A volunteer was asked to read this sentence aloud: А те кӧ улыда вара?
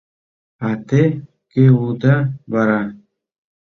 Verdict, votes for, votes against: accepted, 2, 0